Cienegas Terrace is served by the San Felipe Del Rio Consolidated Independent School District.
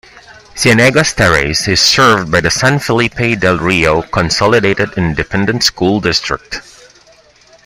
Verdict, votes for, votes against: accepted, 2, 1